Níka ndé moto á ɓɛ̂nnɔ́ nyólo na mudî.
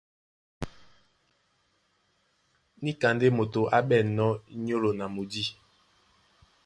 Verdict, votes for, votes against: accepted, 2, 0